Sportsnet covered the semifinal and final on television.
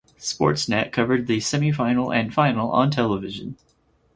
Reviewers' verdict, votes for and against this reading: accepted, 4, 0